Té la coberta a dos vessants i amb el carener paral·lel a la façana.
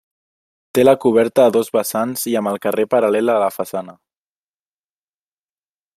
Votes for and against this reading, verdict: 0, 2, rejected